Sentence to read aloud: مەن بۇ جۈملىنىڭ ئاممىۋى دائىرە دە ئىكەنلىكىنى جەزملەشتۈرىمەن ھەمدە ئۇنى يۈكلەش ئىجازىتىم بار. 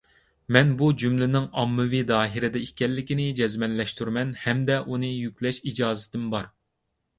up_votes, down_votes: 1, 2